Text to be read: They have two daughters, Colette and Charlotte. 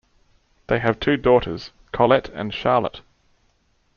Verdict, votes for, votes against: accepted, 2, 0